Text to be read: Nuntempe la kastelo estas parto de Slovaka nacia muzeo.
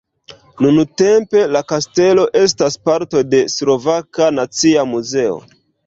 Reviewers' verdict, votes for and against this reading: accepted, 2, 0